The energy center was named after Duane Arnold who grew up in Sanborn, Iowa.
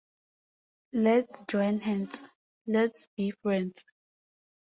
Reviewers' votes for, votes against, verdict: 0, 2, rejected